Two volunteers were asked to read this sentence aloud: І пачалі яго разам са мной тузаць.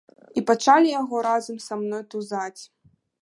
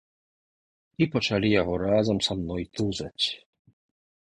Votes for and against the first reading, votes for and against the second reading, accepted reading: 1, 2, 2, 0, second